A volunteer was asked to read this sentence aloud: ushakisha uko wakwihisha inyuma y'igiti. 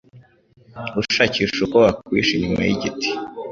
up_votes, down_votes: 2, 0